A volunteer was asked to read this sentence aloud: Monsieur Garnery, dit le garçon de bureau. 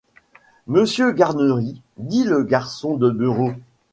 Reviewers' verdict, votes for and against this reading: accepted, 2, 1